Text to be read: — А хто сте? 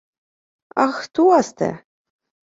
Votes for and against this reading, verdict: 0, 2, rejected